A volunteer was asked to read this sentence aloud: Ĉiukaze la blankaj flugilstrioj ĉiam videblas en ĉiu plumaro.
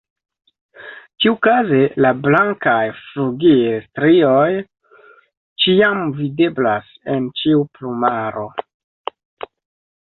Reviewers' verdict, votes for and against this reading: rejected, 0, 2